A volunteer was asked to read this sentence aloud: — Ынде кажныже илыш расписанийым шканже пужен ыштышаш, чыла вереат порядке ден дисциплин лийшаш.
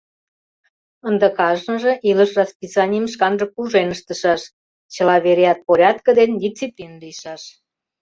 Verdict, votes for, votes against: rejected, 0, 2